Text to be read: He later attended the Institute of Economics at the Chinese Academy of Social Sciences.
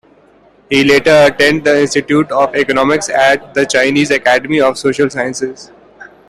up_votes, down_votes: 2, 1